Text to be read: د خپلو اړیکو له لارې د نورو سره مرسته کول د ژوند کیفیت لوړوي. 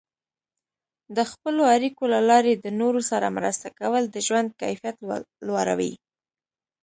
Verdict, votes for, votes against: accepted, 2, 0